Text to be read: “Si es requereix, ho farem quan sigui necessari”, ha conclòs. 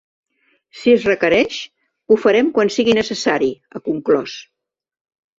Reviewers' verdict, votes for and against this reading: accepted, 3, 0